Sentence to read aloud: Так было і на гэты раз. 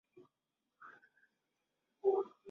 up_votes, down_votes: 0, 2